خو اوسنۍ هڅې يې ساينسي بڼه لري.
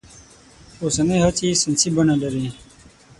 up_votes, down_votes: 0, 6